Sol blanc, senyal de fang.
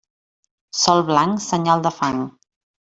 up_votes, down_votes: 1, 2